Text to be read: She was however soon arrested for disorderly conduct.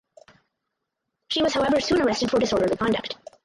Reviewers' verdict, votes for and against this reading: rejected, 0, 4